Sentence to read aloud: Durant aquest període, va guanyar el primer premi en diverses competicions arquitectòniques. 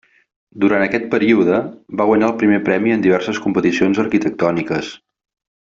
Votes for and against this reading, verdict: 3, 0, accepted